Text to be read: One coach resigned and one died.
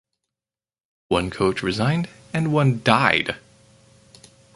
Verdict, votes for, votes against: accepted, 4, 0